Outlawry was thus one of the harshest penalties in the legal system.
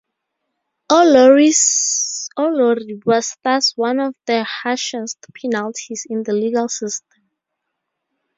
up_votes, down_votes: 0, 2